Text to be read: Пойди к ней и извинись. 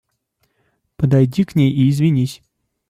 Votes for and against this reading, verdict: 0, 2, rejected